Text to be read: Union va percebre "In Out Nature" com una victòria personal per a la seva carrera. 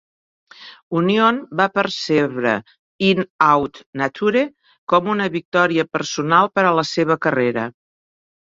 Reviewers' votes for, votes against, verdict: 1, 2, rejected